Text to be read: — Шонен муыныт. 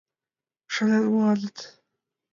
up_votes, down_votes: 1, 2